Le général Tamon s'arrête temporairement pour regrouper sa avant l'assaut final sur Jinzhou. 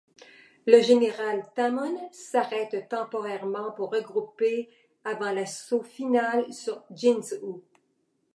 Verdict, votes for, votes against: rejected, 1, 2